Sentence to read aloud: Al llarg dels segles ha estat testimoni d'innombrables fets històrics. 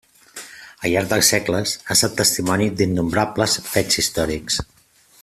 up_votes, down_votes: 2, 1